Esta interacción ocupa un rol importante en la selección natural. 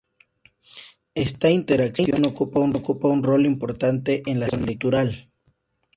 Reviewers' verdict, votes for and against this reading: rejected, 0, 2